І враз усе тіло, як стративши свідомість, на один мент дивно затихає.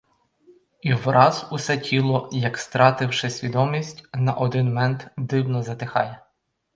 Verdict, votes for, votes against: accepted, 4, 0